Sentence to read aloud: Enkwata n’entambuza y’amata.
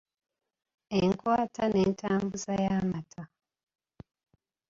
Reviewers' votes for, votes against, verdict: 1, 2, rejected